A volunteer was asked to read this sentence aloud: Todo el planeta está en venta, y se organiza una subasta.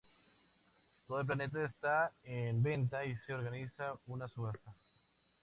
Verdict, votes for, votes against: accepted, 2, 0